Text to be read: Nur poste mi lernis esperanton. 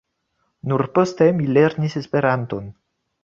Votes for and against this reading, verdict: 2, 0, accepted